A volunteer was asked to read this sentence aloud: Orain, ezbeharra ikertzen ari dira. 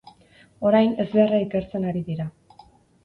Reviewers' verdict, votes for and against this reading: accepted, 6, 0